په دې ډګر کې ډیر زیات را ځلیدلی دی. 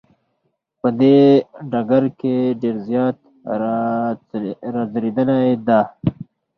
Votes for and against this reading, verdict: 4, 0, accepted